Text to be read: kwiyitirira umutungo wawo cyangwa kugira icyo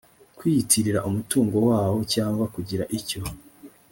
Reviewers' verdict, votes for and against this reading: accepted, 2, 0